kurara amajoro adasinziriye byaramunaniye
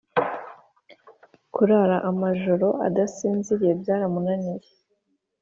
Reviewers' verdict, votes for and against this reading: accepted, 2, 0